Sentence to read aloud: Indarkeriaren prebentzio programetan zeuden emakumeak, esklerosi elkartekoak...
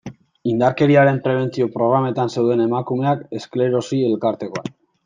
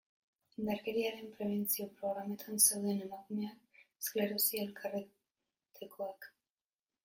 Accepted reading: first